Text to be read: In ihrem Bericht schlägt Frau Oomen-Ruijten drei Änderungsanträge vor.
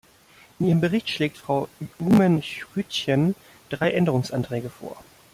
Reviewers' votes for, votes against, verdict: 0, 2, rejected